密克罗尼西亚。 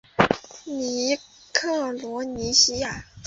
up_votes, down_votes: 3, 1